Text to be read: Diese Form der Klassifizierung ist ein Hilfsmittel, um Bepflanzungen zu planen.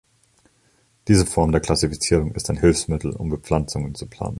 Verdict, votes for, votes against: accepted, 2, 0